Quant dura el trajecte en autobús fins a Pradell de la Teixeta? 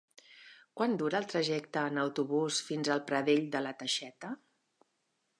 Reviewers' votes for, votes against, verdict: 1, 2, rejected